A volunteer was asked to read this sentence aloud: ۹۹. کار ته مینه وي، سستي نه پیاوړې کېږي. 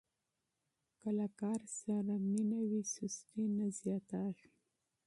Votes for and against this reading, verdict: 0, 2, rejected